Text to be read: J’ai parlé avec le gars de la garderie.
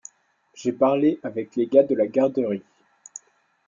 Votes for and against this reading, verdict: 1, 2, rejected